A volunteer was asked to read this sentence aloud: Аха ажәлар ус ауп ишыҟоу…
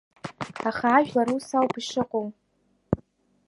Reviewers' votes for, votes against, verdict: 2, 1, accepted